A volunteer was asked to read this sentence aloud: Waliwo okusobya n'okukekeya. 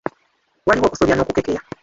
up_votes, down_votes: 1, 2